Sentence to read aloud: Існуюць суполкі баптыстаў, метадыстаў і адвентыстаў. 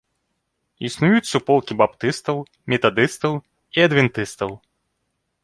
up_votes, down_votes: 2, 0